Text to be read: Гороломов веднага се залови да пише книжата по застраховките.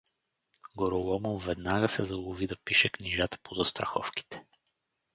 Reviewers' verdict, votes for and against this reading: accepted, 4, 0